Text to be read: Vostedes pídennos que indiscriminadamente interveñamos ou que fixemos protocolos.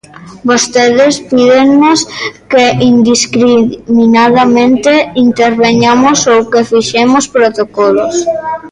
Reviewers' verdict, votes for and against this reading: rejected, 0, 2